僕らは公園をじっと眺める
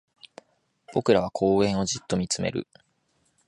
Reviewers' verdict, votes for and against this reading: rejected, 1, 2